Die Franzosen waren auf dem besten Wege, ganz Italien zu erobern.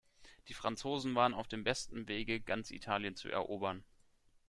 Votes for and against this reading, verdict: 2, 0, accepted